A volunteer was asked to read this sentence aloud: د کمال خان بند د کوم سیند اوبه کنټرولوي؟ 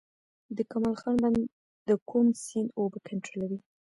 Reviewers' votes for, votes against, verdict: 1, 2, rejected